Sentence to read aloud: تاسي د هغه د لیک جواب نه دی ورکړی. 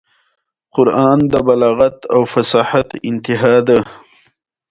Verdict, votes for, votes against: accepted, 2, 0